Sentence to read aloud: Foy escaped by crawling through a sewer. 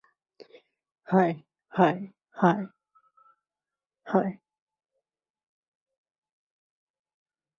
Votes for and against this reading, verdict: 0, 2, rejected